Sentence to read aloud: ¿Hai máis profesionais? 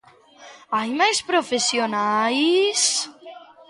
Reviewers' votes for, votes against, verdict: 1, 2, rejected